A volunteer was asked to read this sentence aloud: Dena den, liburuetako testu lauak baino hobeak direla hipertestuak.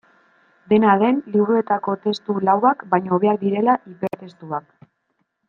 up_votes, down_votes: 1, 2